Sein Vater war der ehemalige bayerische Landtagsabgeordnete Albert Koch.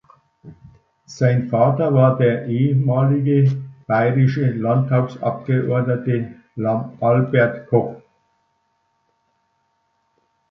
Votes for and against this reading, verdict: 0, 2, rejected